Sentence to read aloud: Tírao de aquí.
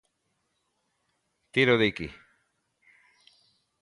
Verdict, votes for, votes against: accepted, 2, 0